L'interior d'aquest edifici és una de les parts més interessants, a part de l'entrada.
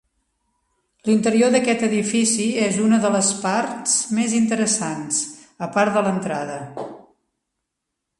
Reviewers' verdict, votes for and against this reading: accepted, 4, 0